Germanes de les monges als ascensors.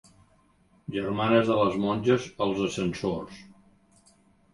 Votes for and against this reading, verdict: 3, 0, accepted